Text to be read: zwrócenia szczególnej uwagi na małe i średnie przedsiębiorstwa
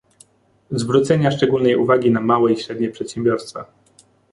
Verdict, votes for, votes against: accepted, 2, 0